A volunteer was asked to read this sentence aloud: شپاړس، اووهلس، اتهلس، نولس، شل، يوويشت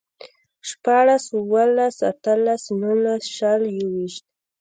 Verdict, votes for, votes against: accepted, 2, 1